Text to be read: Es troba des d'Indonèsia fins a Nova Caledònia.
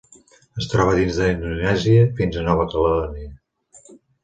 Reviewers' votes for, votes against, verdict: 2, 1, accepted